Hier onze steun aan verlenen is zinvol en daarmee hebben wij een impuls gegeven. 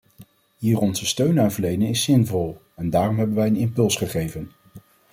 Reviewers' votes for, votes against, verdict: 1, 2, rejected